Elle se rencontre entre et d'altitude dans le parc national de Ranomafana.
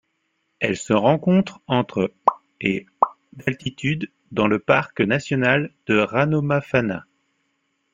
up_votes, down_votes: 0, 2